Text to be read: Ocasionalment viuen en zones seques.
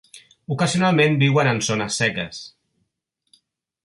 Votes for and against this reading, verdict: 3, 0, accepted